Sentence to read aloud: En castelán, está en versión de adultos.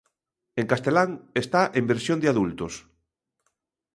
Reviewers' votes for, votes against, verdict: 2, 0, accepted